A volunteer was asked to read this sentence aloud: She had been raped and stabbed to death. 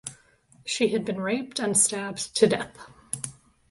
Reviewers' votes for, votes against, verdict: 2, 0, accepted